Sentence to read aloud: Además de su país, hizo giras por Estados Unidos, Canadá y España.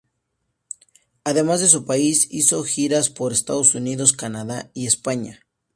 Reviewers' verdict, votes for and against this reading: accepted, 2, 0